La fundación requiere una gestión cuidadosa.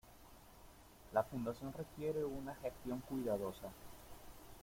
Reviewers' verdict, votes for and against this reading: rejected, 1, 2